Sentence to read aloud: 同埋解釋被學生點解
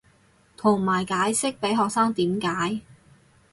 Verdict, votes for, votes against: rejected, 2, 2